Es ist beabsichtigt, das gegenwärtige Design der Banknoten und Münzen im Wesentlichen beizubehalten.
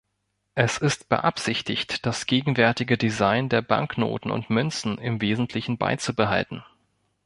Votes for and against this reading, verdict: 2, 0, accepted